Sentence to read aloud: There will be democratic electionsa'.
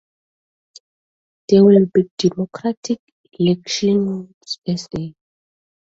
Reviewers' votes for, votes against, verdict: 0, 2, rejected